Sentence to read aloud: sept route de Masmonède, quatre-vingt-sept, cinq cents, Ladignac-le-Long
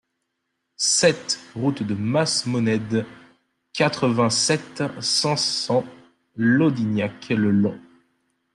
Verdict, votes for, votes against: rejected, 1, 2